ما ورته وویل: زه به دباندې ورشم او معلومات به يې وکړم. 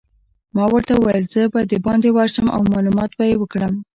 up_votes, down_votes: 2, 0